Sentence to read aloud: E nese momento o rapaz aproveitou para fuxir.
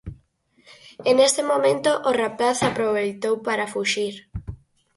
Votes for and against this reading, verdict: 4, 0, accepted